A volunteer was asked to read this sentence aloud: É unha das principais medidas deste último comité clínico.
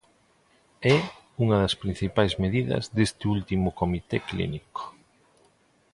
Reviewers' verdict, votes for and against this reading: accepted, 2, 0